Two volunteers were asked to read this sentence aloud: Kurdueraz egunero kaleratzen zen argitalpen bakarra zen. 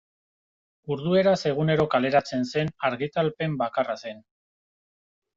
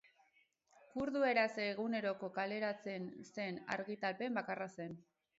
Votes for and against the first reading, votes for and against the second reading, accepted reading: 2, 0, 0, 2, first